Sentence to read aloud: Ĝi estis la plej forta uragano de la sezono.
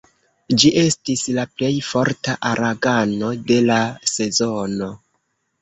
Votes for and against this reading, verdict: 1, 2, rejected